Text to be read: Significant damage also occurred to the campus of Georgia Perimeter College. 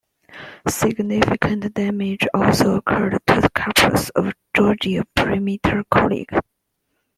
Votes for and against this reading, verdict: 0, 2, rejected